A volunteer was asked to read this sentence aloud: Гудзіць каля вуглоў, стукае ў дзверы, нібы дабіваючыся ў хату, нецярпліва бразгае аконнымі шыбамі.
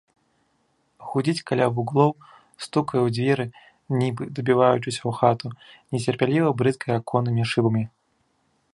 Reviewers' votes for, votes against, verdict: 1, 2, rejected